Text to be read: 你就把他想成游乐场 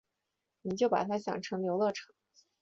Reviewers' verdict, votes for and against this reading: accepted, 2, 0